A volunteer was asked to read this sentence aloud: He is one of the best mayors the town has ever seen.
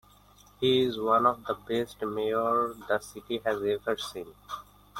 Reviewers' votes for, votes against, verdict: 1, 2, rejected